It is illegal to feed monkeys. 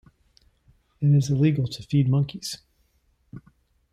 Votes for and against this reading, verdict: 2, 0, accepted